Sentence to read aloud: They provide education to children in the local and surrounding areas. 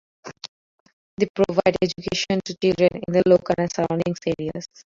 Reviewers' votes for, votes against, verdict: 0, 2, rejected